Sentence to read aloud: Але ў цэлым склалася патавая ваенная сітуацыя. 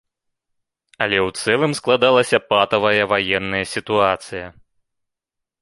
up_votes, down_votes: 0, 2